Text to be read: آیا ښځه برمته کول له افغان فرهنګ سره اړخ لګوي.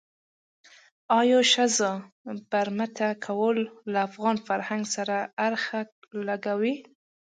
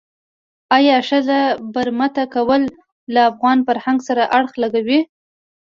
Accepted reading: first